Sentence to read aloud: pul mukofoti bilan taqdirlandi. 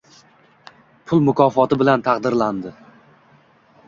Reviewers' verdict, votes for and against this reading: accepted, 2, 1